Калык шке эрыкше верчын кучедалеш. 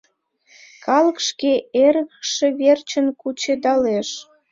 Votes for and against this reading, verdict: 2, 0, accepted